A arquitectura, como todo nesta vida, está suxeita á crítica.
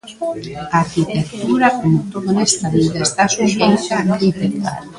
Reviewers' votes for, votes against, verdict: 0, 2, rejected